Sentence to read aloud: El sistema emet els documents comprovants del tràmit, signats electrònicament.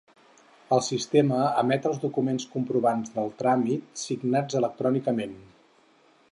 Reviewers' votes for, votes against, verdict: 4, 0, accepted